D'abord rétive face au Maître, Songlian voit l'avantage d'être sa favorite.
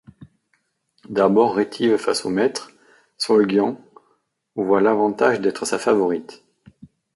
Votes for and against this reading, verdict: 1, 2, rejected